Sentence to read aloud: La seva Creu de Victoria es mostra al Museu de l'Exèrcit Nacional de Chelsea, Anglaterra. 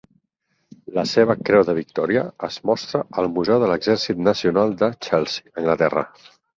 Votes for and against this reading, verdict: 6, 2, accepted